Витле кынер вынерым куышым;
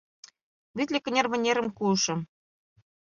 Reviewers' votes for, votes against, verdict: 2, 0, accepted